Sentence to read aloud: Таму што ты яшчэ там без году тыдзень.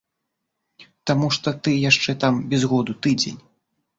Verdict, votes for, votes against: rejected, 1, 2